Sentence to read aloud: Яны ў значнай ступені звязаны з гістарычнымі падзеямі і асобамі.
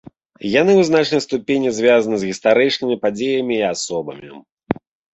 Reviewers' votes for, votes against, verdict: 1, 2, rejected